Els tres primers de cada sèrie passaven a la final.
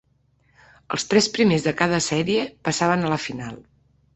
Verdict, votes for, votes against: accepted, 3, 0